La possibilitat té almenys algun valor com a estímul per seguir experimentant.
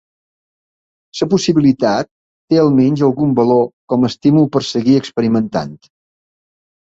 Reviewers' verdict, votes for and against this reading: rejected, 1, 2